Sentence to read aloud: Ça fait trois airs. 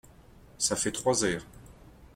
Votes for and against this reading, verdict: 3, 0, accepted